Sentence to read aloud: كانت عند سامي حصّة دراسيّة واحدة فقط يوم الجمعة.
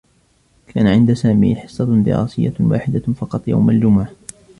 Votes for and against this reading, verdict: 0, 2, rejected